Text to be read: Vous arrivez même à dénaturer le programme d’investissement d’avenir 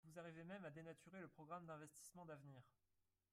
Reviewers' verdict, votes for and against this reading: rejected, 0, 4